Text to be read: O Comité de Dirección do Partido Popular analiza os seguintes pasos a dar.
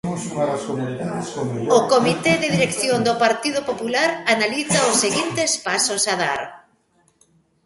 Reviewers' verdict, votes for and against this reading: rejected, 0, 2